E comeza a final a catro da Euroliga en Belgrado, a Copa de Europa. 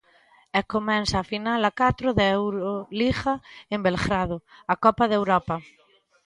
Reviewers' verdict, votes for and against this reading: rejected, 1, 2